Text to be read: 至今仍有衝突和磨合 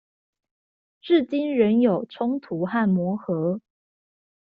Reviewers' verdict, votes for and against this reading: accepted, 2, 0